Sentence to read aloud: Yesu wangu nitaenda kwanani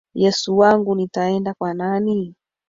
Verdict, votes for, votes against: accepted, 2, 1